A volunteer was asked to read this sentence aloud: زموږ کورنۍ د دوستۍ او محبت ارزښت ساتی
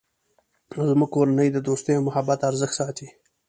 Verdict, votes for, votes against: accepted, 2, 0